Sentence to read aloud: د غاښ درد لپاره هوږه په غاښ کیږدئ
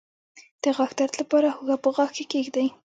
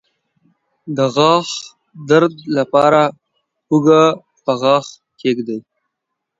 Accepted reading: second